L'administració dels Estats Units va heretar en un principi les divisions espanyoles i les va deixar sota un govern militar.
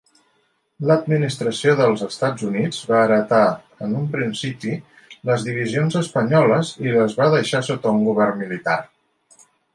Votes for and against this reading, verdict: 3, 0, accepted